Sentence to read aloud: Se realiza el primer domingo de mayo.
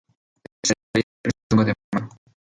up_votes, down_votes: 0, 2